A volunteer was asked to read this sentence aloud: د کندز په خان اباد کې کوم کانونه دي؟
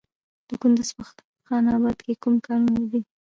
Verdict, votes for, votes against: rejected, 0, 2